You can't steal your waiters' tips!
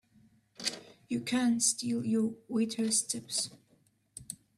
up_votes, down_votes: 2, 1